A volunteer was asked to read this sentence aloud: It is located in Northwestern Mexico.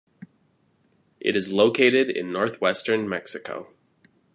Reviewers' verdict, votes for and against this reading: accepted, 2, 0